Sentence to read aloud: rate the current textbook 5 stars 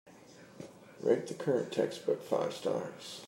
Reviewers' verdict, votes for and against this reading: rejected, 0, 2